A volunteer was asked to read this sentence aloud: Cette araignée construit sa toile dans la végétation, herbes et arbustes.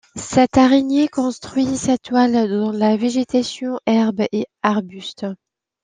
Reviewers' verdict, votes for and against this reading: accepted, 2, 0